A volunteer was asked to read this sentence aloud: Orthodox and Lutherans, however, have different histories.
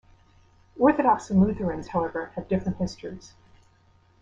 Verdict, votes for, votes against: accepted, 2, 0